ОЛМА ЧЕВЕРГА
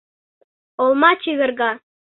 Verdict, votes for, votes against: accepted, 2, 0